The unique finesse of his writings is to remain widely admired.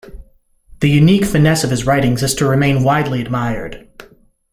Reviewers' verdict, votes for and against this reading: accepted, 2, 0